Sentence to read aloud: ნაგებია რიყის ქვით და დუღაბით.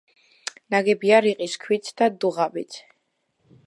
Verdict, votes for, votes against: accepted, 2, 0